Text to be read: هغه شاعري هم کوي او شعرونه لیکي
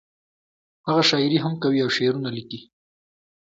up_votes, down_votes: 0, 2